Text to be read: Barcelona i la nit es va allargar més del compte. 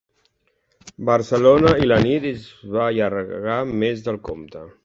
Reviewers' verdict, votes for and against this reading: accepted, 2, 1